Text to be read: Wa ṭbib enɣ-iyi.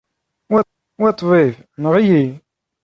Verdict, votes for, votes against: accepted, 2, 0